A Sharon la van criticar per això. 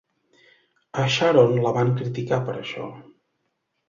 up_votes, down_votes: 2, 0